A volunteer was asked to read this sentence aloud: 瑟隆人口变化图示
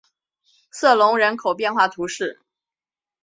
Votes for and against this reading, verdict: 2, 0, accepted